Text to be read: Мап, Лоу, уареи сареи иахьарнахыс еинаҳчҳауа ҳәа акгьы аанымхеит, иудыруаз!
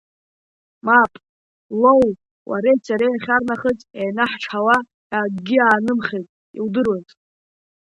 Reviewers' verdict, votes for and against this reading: accepted, 2, 1